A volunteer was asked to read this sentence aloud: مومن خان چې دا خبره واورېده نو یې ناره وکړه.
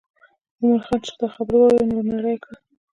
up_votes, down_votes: 0, 2